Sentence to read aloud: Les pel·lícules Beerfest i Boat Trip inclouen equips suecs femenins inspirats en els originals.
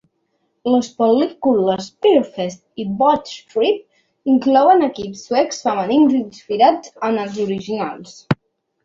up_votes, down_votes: 2, 3